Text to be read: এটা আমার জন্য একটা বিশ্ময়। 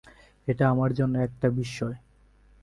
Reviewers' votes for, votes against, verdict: 3, 0, accepted